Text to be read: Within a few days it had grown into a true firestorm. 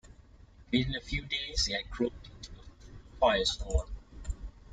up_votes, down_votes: 1, 2